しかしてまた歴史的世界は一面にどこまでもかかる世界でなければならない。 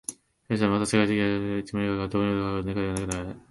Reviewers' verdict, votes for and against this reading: rejected, 0, 2